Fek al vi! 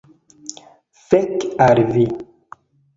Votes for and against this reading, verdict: 1, 2, rejected